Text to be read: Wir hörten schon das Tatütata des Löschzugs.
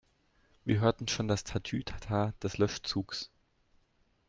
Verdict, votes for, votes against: accepted, 2, 0